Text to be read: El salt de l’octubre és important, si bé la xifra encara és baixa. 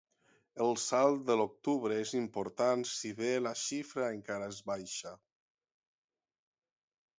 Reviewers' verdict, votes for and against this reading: accepted, 6, 0